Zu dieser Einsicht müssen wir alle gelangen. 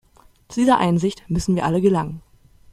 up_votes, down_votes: 0, 2